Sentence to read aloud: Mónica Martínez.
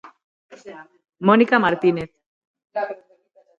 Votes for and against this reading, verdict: 3, 6, rejected